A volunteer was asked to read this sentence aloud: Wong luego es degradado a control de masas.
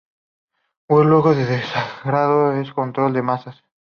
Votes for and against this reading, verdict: 0, 2, rejected